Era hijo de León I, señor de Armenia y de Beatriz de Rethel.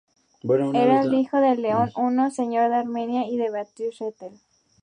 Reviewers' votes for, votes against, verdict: 2, 4, rejected